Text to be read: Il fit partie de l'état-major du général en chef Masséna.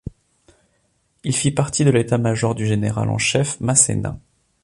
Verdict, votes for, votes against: accepted, 2, 0